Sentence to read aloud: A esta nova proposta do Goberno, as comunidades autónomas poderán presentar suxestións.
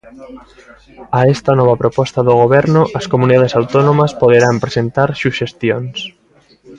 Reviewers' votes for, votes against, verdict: 2, 0, accepted